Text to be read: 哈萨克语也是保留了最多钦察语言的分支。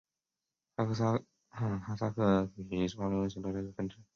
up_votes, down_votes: 0, 2